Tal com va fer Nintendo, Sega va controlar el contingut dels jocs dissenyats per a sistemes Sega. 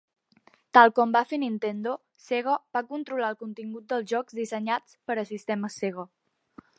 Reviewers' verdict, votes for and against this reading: accepted, 2, 0